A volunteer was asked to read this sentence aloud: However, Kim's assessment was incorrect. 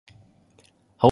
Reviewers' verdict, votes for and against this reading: rejected, 0, 2